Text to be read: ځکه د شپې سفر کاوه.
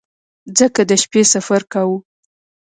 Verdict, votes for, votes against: accepted, 2, 0